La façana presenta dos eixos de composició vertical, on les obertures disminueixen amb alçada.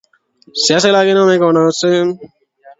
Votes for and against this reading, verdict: 0, 2, rejected